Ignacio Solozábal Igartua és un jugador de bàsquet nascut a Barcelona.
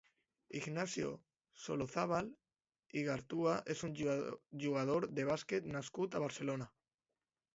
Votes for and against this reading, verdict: 0, 2, rejected